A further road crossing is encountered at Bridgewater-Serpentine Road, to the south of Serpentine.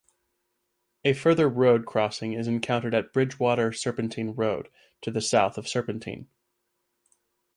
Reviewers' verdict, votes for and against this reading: accepted, 2, 0